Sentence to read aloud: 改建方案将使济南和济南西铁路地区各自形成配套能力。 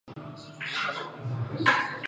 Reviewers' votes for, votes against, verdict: 1, 6, rejected